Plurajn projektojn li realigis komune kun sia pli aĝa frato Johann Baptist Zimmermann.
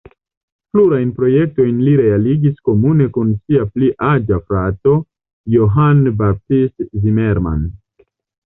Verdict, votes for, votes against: accepted, 2, 0